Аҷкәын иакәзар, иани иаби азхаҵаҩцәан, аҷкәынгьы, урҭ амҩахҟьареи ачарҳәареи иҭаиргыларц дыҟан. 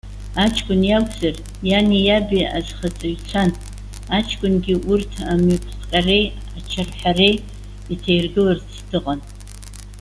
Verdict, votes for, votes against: accepted, 2, 0